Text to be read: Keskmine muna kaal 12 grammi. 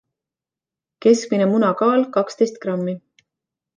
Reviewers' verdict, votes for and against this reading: rejected, 0, 2